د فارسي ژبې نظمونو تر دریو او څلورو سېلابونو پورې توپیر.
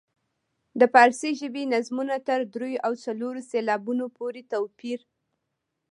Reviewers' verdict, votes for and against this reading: accepted, 2, 1